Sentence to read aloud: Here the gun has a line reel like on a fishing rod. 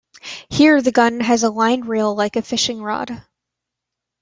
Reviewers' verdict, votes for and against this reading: rejected, 1, 2